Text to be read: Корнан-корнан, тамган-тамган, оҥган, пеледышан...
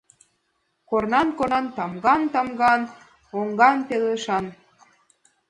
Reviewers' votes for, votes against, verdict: 1, 2, rejected